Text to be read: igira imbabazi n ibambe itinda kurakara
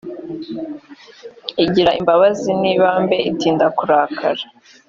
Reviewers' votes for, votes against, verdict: 2, 0, accepted